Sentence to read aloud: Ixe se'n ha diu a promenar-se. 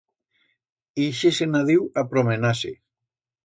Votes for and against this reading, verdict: 2, 0, accepted